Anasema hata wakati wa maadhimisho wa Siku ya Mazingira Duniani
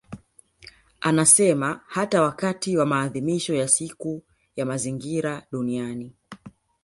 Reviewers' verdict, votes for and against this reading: accepted, 2, 0